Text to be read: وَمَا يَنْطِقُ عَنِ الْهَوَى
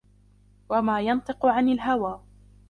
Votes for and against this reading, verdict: 2, 1, accepted